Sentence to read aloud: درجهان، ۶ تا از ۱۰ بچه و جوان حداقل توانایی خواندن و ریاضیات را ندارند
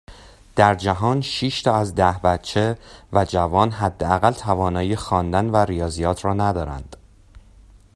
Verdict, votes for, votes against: rejected, 0, 2